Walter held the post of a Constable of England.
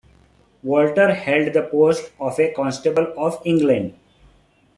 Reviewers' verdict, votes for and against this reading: accepted, 2, 0